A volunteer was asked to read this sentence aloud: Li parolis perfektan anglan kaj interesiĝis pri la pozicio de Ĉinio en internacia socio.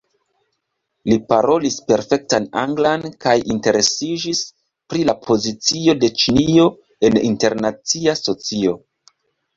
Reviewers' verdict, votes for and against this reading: rejected, 0, 2